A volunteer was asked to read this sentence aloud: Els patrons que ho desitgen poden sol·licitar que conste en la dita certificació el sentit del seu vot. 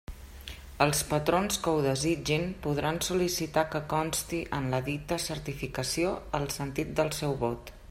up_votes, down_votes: 1, 2